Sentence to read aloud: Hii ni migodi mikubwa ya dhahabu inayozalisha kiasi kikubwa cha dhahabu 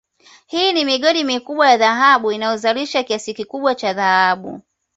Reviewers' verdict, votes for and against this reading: accepted, 2, 0